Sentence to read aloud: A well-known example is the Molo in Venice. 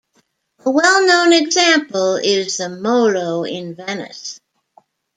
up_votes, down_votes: 2, 0